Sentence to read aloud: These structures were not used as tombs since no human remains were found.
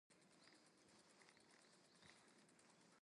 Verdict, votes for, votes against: rejected, 0, 2